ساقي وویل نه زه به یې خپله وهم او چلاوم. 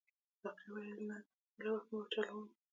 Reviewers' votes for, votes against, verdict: 1, 2, rejected